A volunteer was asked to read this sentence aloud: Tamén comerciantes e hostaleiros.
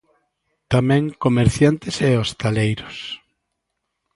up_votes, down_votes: 2, 0